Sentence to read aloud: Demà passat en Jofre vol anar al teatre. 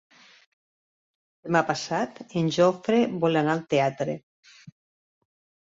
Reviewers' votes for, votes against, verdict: 1, 2, rejected